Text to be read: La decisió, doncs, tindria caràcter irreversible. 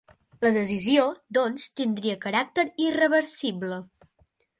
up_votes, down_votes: 2, 0